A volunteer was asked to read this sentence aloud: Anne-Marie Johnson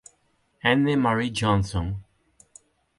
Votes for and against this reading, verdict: 4, 0, accepted